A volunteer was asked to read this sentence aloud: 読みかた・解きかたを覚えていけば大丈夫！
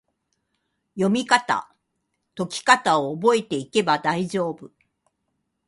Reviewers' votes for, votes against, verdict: 2, 0, accepted